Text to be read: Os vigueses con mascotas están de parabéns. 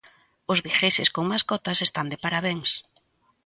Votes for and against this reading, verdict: 2, 1, accepted